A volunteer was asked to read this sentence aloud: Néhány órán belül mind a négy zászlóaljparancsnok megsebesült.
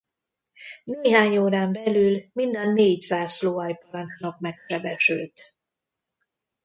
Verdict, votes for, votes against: rejected, 0, 2